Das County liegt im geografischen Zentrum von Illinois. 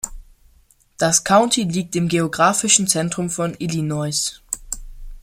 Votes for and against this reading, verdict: 2, 0, accepted